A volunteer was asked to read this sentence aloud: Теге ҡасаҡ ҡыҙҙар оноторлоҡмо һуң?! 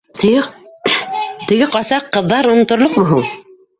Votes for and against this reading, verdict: 0, 2, rejected